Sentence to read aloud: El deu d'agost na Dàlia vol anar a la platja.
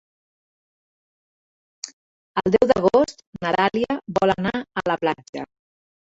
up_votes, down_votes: 0, 2